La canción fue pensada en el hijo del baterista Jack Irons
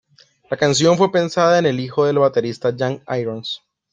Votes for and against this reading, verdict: 2, 1, accepted